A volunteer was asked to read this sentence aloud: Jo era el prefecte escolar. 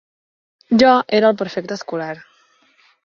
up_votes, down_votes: 4, 1